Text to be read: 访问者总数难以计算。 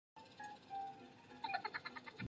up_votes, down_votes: 0, 3